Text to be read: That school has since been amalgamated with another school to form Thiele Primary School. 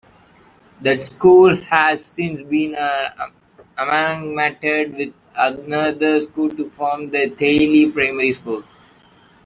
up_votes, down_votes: 0, 2